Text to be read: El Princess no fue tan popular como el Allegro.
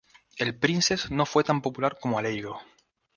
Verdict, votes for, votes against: rejected, 0, 2